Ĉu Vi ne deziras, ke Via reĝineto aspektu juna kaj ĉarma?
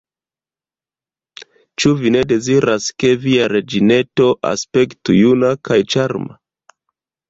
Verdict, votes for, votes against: rejected, 0, 2